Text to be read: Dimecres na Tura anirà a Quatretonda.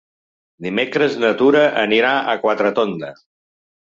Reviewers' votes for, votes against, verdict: 3, 1, accepted